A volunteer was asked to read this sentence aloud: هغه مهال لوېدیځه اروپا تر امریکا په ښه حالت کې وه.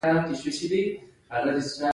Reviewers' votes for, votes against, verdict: 1, 2, rejected